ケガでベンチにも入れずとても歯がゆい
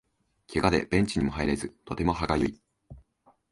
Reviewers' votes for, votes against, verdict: 3, 0, accepted